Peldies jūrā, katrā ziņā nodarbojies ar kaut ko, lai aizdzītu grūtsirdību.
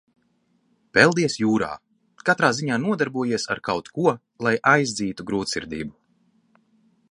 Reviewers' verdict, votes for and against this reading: accepted, 2, 0